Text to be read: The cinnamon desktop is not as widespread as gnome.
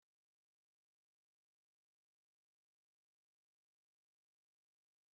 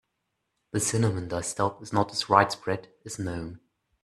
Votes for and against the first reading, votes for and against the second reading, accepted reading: 0, 2, 2, 0, second